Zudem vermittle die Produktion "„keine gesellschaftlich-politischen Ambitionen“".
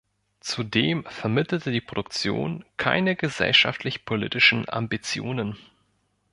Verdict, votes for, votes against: rejected, 0, 2